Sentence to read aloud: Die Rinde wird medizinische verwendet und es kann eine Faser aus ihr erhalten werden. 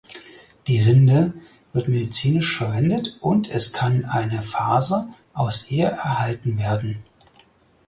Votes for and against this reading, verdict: 4, 0, accepted